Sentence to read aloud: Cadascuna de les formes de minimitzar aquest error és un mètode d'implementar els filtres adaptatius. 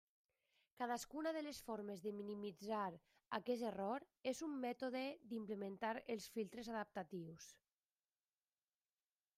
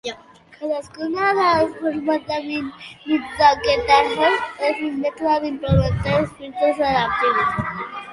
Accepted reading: first